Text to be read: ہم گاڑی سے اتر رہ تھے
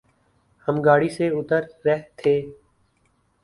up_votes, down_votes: 2, 0